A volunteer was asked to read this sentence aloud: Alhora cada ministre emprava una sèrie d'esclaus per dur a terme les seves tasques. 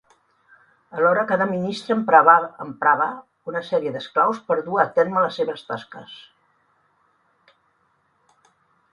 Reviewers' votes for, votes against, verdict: 0, 3, rejected